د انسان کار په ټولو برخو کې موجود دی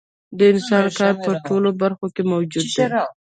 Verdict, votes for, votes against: rejected, 1, 2